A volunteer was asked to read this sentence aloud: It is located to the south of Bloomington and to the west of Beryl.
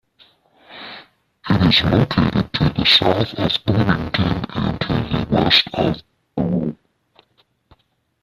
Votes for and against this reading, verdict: 0, 2, rejected